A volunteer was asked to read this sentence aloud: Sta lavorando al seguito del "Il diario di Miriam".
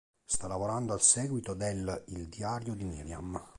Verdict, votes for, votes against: accepted, 2, 0